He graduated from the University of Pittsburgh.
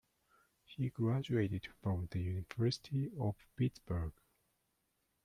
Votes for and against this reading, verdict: 2, 0, accepted